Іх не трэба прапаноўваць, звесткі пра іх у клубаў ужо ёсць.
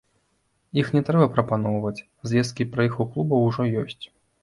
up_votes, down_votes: 2, 0